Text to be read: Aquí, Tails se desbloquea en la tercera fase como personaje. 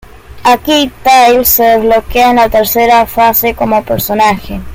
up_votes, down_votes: 0, 2